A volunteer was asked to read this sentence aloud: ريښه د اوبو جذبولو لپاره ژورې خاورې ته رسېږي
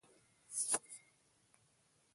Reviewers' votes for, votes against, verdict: 0, 2, rejected